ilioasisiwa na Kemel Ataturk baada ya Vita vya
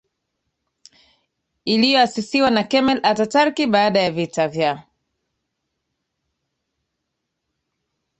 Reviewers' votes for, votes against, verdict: 0, 2, rejected